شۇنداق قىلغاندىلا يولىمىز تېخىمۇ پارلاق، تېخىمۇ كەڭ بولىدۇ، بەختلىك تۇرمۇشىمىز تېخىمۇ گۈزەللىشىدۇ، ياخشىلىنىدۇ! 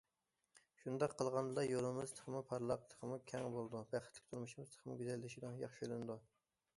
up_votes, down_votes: 2, 1